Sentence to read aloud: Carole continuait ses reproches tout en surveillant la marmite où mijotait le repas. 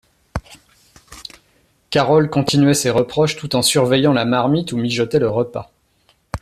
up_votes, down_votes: 2, 0